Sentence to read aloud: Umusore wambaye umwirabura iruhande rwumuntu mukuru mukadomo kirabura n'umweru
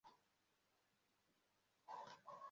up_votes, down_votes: 0, 2